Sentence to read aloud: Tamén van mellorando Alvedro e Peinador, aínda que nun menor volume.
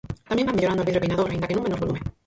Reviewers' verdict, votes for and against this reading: rejected, 0, 4